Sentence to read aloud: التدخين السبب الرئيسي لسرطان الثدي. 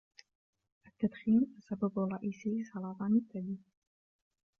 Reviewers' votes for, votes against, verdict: 0, 2, rejected